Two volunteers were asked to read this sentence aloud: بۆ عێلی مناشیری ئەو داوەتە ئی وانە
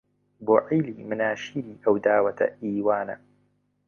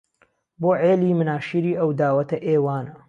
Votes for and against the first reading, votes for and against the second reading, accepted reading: 2, 1, 1, 2, first